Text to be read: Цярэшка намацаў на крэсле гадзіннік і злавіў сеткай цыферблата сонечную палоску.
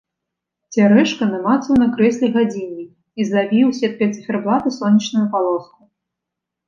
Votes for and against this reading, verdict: 2, 0, accepted